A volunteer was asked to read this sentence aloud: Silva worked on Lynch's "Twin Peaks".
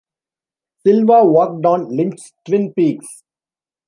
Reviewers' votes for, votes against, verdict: 2, 0, accepted